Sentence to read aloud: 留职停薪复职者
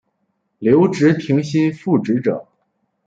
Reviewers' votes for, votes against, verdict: 2, 0, accepted